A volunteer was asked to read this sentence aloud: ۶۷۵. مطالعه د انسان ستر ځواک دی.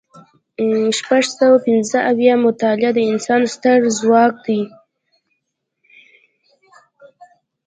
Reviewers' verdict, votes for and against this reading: rejected, 0, 2